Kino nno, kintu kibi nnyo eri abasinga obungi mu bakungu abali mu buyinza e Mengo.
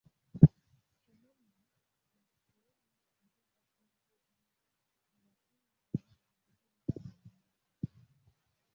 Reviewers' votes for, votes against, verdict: 0, 2, rejected